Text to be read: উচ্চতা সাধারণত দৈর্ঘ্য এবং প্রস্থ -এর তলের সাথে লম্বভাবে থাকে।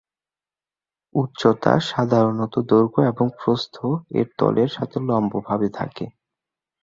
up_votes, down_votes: 18, 1